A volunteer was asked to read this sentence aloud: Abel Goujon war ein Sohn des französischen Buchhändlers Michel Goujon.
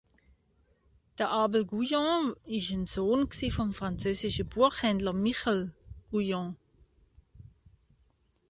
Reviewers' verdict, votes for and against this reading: rejected, 0, 2